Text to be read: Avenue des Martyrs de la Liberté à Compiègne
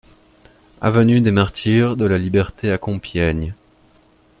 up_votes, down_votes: 2, 0